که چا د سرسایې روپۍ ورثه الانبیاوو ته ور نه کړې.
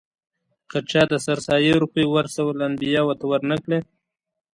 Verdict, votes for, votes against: accepted, 2, 0